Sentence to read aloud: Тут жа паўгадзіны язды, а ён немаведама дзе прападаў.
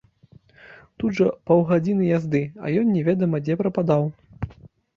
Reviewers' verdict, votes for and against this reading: rejected, 0, 2